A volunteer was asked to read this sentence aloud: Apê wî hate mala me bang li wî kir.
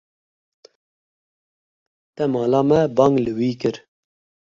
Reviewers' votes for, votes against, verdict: 1, 2, rejected